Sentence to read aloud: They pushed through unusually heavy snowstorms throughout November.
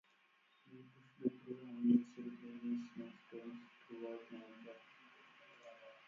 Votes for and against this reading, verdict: 0, 4, rejected